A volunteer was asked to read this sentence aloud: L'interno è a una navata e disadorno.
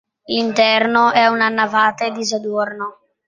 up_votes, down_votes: 2, 0